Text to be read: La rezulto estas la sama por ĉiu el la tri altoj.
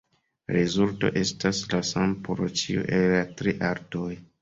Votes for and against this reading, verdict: 2, 0, accepted